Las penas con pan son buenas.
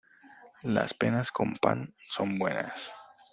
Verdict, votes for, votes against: accepted, 2, 0